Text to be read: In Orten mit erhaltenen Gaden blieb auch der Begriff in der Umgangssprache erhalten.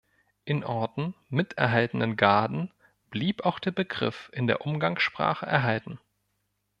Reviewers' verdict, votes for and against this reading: accepted, 2, 0